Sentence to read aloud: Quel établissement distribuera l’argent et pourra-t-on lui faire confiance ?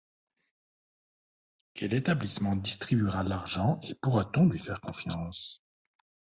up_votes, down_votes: 1, 2